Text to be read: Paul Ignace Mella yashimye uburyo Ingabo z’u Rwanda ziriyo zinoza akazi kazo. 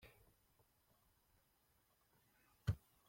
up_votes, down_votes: 0, 3